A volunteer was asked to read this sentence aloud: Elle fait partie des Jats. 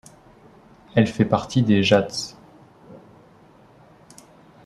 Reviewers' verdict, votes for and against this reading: accepted, 3, 0